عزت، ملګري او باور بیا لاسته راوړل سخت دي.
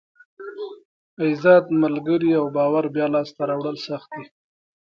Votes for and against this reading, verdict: 1, 2, rejected